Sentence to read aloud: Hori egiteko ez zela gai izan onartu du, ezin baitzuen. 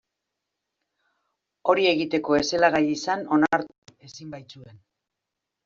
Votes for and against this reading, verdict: 0, 2, rejected